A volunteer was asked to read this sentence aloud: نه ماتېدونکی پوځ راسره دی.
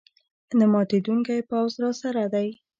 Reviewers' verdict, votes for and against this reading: accepted, 2, 0